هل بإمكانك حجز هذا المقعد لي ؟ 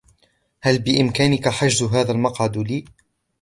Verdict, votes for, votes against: accepted, 2, 0